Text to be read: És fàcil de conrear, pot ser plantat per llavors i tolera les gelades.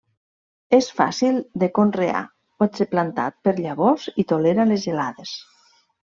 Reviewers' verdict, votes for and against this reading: rejected, 1, 2